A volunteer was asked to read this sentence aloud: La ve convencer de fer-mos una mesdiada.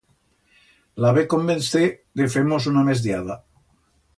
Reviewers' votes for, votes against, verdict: 2, 0, accepted